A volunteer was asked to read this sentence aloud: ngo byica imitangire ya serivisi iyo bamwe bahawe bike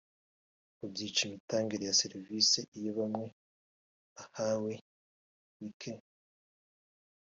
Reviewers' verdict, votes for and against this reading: rejected, 1, 2